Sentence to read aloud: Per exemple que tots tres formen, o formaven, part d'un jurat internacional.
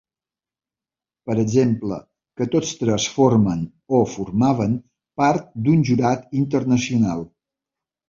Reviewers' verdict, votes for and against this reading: accepted, 2, 0